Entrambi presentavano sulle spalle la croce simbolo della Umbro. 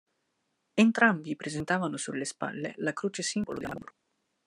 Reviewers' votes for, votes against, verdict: 1, 4, rejected